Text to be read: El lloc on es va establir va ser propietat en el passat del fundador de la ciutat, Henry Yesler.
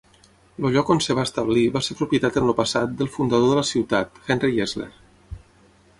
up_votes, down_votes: 3, 6